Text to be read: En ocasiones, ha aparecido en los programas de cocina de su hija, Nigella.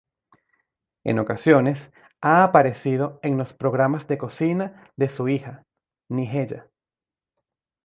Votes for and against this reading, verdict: 2, 0, accepted